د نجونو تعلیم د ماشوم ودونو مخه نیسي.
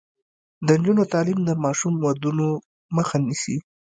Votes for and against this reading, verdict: 2, 0, accepted